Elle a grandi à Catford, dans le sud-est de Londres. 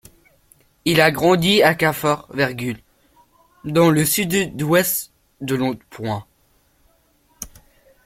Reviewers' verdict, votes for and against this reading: rejected, 0, 2